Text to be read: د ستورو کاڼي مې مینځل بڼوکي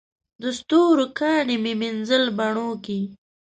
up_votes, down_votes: 2, 0